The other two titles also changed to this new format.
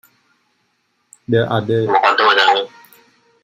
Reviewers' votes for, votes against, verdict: 1, 2, rejected